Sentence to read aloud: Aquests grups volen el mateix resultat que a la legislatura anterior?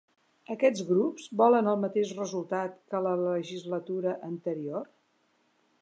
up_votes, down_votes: 2, 0